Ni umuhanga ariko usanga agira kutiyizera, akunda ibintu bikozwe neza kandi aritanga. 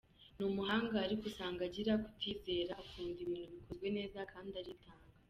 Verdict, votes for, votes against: rejected, 1, 2